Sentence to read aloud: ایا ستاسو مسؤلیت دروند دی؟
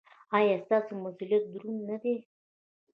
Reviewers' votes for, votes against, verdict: 1, 2, rejected